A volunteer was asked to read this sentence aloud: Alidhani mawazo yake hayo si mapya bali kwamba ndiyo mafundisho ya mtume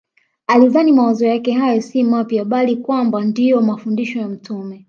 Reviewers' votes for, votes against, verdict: 2, 0, accepted